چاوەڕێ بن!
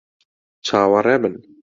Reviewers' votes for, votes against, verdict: 2, 0, accepted